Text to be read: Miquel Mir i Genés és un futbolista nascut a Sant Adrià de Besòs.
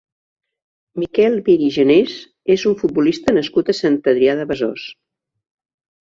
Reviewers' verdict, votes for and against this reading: accepted, 2, 0